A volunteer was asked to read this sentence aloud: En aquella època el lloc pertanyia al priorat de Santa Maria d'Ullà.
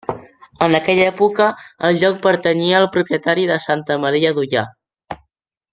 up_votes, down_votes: 0, 2